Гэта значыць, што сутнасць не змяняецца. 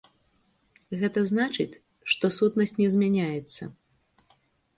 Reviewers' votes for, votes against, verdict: 0, 2, rejected